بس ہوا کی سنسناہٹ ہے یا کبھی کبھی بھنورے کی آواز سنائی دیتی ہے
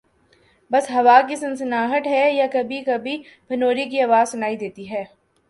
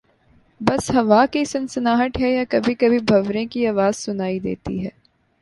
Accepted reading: second